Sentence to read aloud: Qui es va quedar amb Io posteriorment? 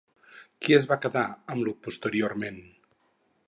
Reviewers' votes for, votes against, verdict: 2, 0, accepted